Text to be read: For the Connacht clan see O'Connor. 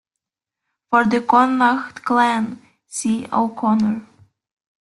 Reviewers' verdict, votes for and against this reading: rejected, 1, 2